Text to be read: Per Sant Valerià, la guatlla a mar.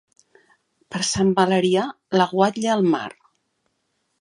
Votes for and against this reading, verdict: 0, 2, rejected